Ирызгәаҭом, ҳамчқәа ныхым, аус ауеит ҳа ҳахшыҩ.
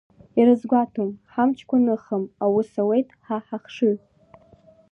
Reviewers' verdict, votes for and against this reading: accepted, 2, 0